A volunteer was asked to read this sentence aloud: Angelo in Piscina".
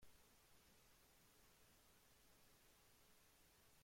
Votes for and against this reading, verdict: 0, 2, rejected